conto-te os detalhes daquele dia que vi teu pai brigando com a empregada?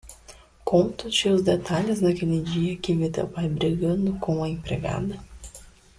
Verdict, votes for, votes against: accepted, 2, 1